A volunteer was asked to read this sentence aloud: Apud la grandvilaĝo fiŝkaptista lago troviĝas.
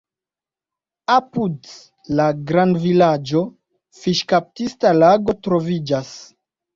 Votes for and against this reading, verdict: 2, 0, accepted